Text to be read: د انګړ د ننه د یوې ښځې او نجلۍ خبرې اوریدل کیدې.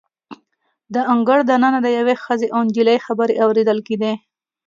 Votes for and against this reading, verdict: 2, 0, accepted